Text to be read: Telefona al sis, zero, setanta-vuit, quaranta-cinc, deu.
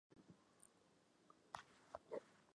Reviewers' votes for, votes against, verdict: 0, 2, rejected